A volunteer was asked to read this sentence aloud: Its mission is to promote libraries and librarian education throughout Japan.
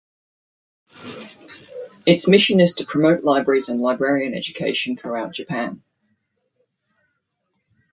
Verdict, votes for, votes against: accepted, 2, 0